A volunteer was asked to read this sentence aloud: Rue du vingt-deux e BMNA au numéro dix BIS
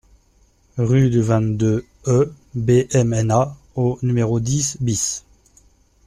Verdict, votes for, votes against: accepted, 2, 0